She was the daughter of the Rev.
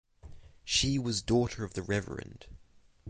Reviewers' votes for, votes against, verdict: 3, 3, rejected